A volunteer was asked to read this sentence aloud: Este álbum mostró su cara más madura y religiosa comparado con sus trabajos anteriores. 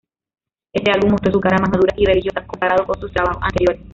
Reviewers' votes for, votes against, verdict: 0, 2, rejected